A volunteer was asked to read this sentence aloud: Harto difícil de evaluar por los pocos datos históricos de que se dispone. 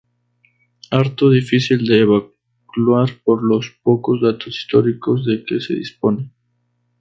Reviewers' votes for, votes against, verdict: 2, 2, rejected